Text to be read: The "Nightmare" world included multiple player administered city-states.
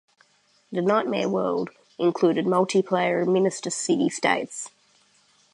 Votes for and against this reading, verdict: 0, 2, rejected